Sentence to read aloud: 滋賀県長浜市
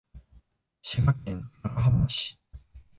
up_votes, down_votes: 1, 2